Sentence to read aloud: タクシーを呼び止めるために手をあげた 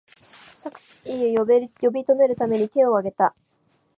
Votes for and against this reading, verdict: 1, 2, rejected